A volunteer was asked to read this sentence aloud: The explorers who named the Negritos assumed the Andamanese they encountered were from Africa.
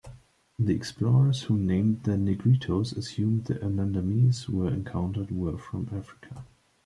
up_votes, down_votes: 1, 2